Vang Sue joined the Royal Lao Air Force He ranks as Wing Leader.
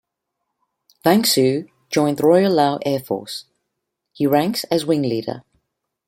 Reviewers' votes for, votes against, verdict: 2, 0, accepted